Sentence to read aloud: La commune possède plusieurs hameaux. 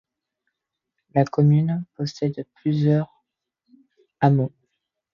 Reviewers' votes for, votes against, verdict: 2, 1, accepted